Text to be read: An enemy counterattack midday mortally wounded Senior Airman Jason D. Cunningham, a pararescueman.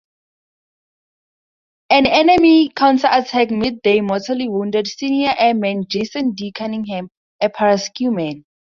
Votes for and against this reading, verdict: 0, 2, rejected